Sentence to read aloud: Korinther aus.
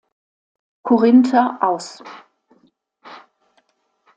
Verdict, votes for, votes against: accepted, 2, 0